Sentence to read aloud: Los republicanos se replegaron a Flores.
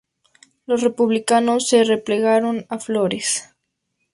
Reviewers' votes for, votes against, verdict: 4, 0, accepted